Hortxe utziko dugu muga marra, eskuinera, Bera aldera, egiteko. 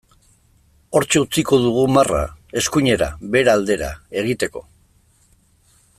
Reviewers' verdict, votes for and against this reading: rejected, 0, 2